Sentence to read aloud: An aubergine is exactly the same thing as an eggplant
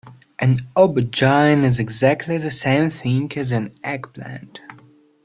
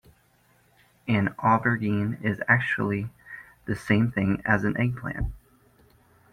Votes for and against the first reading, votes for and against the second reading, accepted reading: 2, 1, 0, 2, first